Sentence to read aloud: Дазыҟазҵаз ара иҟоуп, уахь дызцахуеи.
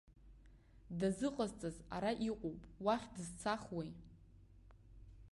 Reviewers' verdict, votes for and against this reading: accepted, 2, 0